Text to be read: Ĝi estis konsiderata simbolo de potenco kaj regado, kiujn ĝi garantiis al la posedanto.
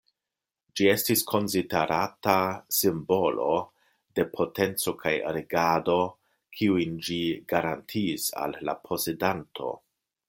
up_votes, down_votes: 1, 2